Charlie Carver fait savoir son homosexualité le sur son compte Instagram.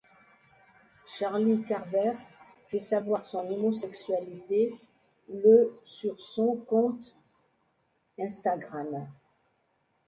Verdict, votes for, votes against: accepted, 2, 0